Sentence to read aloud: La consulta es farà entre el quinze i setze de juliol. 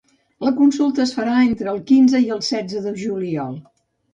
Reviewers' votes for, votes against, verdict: 1, 2, rejected